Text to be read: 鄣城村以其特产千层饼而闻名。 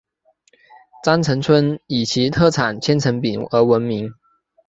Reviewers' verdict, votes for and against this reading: accepted, 7, 0